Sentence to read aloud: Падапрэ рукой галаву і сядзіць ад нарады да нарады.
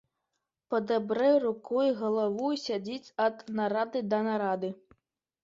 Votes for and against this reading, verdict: 1, 2, rejected